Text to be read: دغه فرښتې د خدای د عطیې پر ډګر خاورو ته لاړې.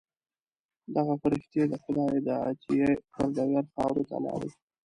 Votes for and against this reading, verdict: 0, 2, rejected